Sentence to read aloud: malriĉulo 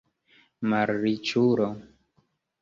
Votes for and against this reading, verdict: 0, 2, rejected